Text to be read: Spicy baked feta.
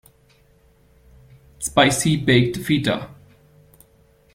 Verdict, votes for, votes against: rejected, 0, 2